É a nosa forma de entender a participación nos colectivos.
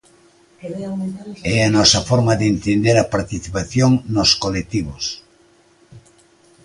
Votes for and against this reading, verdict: 2, 0, accepted